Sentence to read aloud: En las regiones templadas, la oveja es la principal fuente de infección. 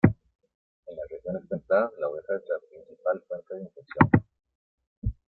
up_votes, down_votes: 1, 2